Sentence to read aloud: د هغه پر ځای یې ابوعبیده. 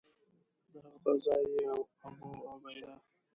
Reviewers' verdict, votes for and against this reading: rejected, 1, 2